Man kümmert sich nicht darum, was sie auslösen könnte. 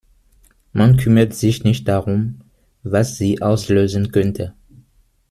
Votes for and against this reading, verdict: 1, 2, rejected